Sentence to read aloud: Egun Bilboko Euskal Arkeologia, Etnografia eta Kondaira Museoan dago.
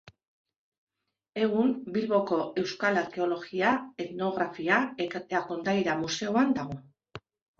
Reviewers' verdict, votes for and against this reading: rejected, 0, 2